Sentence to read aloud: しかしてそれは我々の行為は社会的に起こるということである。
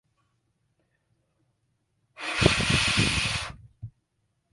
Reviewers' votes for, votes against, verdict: 0, 3, rejected